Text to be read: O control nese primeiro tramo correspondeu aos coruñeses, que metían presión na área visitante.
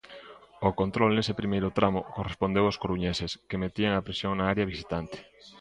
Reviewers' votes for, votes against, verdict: 1, 2, rejected